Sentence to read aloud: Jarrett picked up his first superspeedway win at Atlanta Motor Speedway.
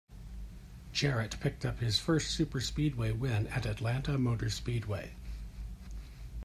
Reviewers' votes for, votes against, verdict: 2, 0, accepted